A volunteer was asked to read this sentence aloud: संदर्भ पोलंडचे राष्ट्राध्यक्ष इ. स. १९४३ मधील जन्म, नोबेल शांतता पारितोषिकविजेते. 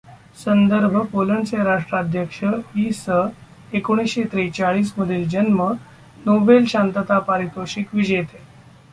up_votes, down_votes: 0, 2